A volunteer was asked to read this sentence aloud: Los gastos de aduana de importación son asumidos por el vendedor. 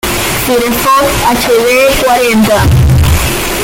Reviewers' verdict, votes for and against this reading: rejected, 0, 2